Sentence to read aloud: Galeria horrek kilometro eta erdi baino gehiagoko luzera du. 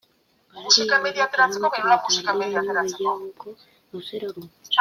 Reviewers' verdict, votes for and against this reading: rejected, 0, 3